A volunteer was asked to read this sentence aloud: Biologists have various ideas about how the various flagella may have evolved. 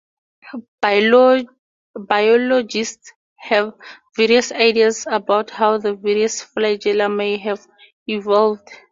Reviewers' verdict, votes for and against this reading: rejected, 0, 2